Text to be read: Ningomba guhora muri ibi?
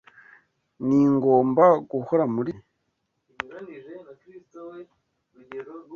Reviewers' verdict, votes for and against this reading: rejected, 1, 2